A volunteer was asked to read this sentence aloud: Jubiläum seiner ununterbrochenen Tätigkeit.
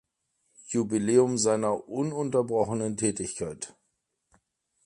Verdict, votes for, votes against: accepted, 2, 0